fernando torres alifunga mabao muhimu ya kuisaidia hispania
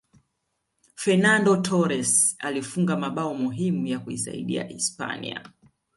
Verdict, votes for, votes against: accepted, 2, 0